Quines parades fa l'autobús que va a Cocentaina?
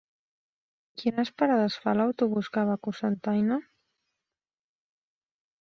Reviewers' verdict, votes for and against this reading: accepted, 3, 0